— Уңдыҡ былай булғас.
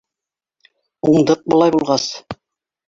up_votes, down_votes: 3, 1